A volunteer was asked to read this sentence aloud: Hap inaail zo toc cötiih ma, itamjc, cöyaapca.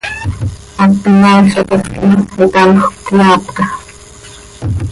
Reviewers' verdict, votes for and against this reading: rejected, 1, 2